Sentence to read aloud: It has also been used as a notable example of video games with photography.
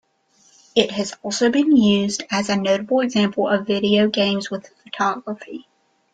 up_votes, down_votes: 2, 0